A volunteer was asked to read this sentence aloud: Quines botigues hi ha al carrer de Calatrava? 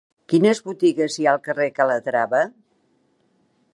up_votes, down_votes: 1, 2